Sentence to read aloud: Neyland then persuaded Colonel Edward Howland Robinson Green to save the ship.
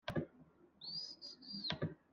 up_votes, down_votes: 0, 2